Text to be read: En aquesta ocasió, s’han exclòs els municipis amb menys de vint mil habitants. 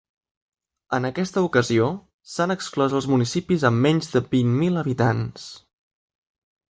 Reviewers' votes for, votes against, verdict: 3, 0, accepted